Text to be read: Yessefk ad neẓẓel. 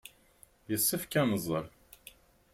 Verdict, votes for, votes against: accepted, 3, 0